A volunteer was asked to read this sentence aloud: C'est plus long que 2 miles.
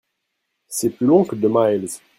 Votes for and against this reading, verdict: 0, 2, rejected